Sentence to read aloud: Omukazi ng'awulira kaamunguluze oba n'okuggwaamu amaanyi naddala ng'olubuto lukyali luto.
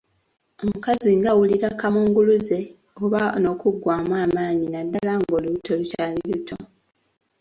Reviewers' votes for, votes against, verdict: 2, 1, accepted